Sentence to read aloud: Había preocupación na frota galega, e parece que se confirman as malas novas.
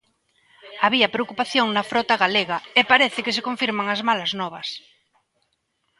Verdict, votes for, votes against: accepted, 2, 0